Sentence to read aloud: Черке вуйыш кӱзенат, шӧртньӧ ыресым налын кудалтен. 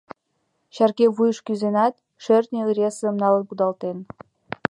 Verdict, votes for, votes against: accepted, 2, 0